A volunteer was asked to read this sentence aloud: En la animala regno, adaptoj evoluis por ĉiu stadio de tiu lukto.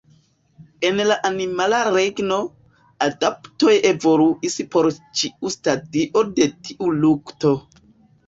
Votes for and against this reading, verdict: 4, 2, accepted